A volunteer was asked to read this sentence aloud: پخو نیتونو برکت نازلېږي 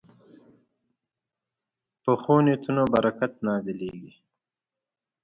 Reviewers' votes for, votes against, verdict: 1, 2, rejected